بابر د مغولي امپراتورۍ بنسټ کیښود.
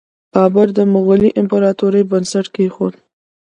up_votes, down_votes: 2, 0